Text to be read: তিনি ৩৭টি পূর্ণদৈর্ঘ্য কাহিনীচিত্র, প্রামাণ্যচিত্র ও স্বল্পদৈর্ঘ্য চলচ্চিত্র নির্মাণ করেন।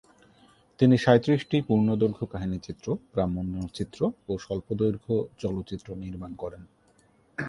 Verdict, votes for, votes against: rejected, 0, 2